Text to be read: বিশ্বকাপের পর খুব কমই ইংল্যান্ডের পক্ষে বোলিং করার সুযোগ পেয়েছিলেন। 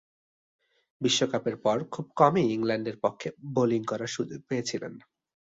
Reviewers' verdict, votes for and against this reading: accepted, 2, 0